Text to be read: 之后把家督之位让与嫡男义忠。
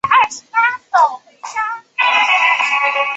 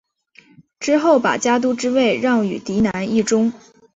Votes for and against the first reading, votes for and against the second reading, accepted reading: 1, 5, 3, 0, second